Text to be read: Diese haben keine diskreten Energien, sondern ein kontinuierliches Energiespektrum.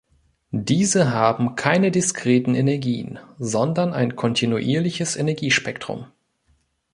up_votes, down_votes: 2, 1